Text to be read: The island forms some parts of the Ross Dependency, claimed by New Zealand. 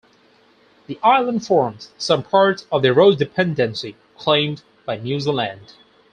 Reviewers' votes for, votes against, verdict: 2, 4, rejected